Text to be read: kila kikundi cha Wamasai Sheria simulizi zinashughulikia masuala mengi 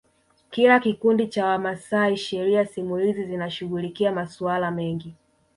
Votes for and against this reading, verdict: 1, 2, rejected